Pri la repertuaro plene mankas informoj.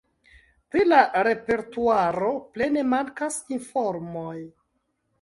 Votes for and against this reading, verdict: 2, 0, accepted